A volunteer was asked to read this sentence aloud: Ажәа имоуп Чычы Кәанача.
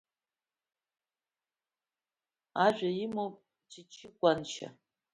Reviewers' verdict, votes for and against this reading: rejected, 1, 2